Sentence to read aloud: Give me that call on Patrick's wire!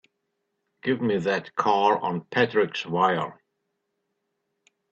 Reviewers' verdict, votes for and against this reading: accepted, 2, 0